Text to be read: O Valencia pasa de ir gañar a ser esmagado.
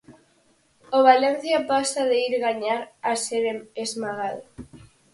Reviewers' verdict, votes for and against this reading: rejected, 0, 4